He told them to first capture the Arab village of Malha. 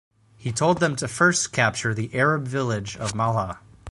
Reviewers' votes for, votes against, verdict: 4, 0, accepted